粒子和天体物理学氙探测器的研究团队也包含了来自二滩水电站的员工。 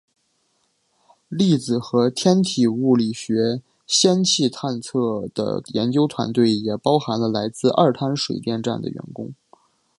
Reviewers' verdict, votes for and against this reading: accepted, 2, 1